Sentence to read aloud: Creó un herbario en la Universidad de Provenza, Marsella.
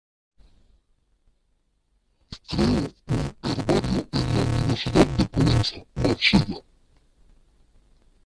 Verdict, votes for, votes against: rejected, 0, 3